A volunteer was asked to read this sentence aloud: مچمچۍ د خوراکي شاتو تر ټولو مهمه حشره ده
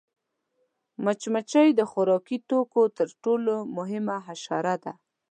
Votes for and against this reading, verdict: 1, 2, rejected